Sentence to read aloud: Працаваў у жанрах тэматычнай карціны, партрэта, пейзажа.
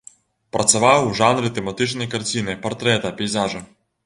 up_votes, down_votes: 1, 2